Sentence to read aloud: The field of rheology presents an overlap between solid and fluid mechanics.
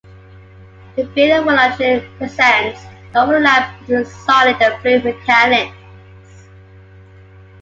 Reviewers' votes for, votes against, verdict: 1, 2, rejected